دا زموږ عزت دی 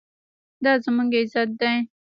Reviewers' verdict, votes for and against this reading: rejected, 1, 2